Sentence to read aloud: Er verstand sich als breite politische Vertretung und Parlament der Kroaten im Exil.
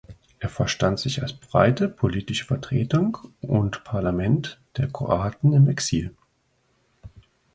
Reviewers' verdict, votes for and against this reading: accepted, 2, 0